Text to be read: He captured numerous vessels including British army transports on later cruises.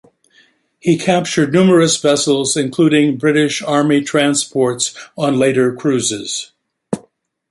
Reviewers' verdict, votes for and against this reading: accepted, 2, 0